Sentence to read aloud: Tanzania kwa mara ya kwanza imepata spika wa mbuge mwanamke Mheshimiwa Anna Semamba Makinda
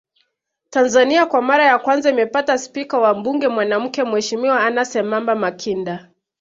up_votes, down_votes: 2, 1